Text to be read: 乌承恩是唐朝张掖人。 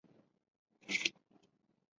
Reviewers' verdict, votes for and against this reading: rejected, 0, 2